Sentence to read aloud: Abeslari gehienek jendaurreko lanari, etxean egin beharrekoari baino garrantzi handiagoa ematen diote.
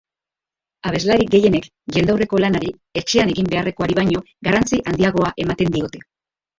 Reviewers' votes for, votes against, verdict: 0, 2, rejected